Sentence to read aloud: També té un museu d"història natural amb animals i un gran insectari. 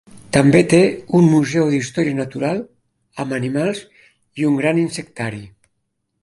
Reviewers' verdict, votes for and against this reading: accepted, 2, 0